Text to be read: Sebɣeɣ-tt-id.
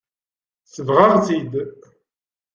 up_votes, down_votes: 2, 0